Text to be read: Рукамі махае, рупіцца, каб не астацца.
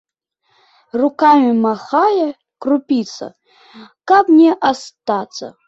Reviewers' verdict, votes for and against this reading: rejected, 1, 2